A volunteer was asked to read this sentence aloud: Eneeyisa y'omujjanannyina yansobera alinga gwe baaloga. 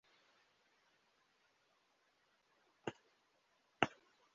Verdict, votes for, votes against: rejected, 0, 2